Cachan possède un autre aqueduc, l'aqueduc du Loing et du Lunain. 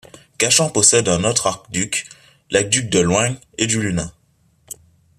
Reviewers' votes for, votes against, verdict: 1, 2, rejected